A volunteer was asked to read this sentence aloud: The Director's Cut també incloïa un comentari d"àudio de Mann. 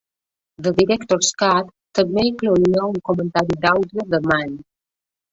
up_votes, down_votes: 1, 2